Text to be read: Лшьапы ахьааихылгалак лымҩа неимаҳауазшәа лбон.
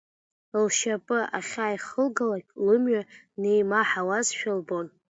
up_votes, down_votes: 2, 1